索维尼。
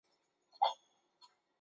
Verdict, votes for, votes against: rejected, 0, 2